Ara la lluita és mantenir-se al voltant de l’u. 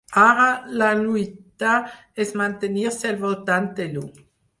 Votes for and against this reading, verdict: 2, 4, rejected